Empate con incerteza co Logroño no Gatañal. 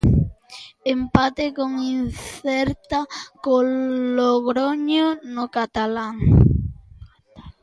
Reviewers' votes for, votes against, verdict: 0, 2, rejected